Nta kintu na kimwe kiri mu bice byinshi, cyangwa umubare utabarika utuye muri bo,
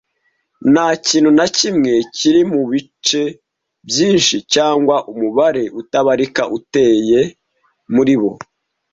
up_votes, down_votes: 1, 2